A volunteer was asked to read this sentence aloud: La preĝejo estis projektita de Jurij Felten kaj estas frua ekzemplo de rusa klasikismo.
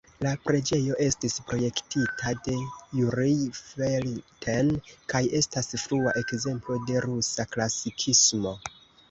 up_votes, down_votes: 1, 2